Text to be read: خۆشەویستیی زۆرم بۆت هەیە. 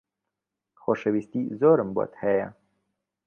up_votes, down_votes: 2, 0